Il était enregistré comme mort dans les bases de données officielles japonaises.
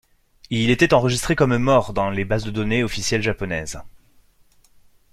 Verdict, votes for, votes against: accepted, 2, 0